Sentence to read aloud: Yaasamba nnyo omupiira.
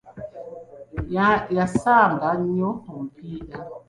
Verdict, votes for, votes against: rejected, 1, 2